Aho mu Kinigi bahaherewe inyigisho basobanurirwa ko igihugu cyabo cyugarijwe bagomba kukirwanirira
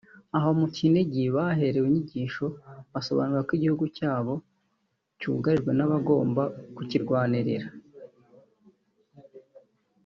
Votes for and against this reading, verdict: 1, 2, rejected